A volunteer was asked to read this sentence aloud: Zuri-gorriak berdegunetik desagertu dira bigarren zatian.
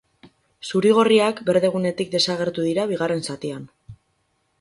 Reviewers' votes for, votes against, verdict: 0, 2, rejected